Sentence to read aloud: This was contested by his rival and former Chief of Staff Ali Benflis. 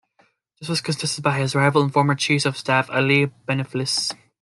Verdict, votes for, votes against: rejected, 1, 2